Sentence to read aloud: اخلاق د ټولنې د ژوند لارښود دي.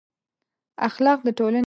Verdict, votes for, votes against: rejected, 1, 2